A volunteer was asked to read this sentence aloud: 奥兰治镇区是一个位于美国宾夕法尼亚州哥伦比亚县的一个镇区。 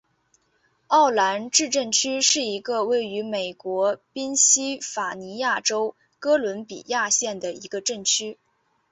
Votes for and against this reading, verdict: 1, 2, rejected